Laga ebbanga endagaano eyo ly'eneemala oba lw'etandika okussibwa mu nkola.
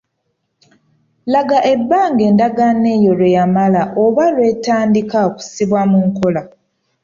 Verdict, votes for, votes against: rejected, 0, 2